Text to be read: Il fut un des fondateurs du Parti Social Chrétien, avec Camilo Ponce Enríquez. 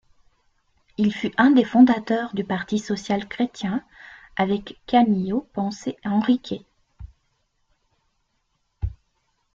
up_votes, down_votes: 2, 0